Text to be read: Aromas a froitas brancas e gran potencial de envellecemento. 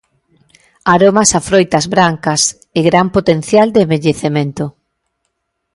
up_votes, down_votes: 1, 2